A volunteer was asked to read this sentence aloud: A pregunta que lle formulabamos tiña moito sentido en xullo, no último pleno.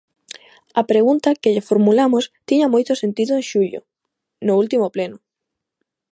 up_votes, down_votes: 0, 2